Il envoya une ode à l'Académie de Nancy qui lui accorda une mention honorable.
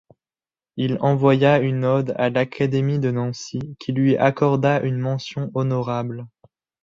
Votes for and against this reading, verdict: 2, 1, accepted